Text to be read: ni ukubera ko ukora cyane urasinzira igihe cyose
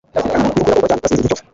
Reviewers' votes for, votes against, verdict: 0, 2, rejected